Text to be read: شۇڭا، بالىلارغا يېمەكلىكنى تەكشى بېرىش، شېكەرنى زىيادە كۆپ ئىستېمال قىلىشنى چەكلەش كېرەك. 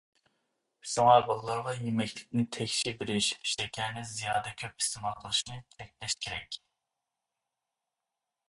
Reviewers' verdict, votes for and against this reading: rejected, 0, 2